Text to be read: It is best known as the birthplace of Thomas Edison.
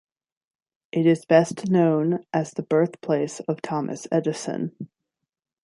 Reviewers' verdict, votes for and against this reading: accepted, 2, 0